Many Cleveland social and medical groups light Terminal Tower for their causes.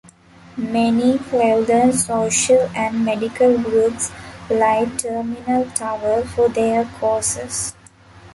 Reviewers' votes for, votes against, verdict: 1, 2, rejected